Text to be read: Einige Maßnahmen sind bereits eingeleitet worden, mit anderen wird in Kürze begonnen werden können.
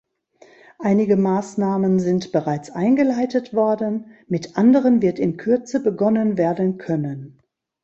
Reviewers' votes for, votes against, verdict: 2, 0, accepted